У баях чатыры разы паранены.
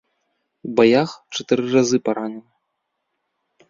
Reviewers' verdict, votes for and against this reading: rejected, 1, 2